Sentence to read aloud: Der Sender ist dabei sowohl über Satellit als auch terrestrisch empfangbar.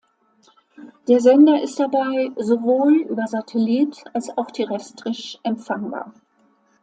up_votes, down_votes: 2, 0